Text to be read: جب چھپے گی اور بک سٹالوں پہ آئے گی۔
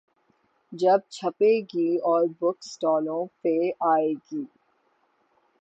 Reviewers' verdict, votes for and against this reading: accepted, 6, 0